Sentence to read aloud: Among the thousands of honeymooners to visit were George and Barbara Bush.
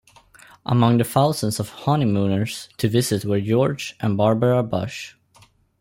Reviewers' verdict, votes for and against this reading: accepted, 2, 1